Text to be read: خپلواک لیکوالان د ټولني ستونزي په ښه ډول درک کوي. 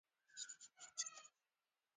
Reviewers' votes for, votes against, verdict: 2, 0, accepted